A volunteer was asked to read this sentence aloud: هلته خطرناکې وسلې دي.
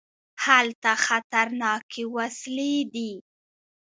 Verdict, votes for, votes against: rejected, 1, 2